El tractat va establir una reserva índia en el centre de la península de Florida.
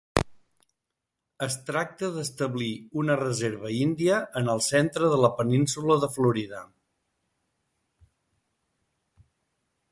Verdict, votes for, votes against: rejected, 0, 2